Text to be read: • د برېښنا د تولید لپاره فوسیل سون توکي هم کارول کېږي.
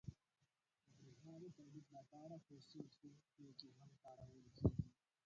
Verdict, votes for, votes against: rejected, 1, 2